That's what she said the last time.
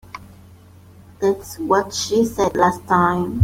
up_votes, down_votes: 0, 2